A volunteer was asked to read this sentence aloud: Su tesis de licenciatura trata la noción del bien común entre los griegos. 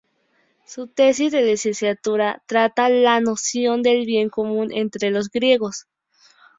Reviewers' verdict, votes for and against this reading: accepted, 6, 0